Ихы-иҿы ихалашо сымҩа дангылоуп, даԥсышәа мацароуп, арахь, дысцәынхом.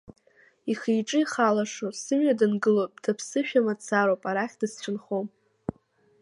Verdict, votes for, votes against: accepted, 2, 1